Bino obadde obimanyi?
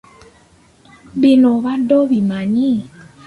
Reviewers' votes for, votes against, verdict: 2, 0, accepted